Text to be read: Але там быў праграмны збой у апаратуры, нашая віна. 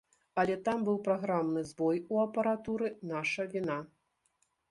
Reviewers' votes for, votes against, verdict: 0, 2, rejected